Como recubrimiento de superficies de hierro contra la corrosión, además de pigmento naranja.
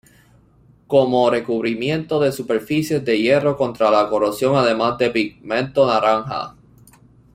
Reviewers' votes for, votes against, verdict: 1, 2, rejected